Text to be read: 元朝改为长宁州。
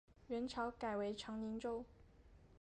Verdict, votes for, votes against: accepted, 3, 2